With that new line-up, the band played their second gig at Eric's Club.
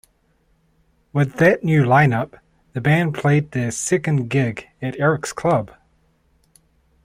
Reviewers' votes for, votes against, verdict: 2, 0, accepted